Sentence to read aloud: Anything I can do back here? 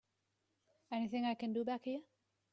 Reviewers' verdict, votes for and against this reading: accepted, 2, 0